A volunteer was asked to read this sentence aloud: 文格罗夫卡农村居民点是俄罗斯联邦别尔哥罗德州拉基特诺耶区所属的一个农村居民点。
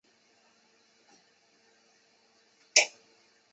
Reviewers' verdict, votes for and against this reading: rejected, 0, 3